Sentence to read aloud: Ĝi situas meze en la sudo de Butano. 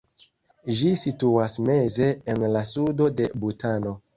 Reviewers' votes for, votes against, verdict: 2, 0, accepted